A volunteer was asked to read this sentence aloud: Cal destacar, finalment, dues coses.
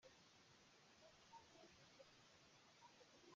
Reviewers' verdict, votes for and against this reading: rejected, 0, 2